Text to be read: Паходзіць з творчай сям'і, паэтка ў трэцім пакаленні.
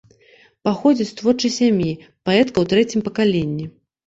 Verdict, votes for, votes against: accepted, 2, 0